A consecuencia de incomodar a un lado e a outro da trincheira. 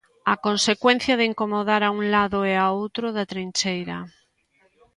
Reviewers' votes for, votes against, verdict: 2, 0, accepted